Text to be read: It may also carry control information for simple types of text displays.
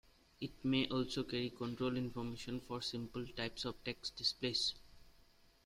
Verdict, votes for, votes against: rejected, 1, 2